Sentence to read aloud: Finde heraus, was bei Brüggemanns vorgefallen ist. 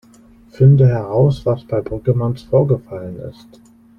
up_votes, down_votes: 2, 0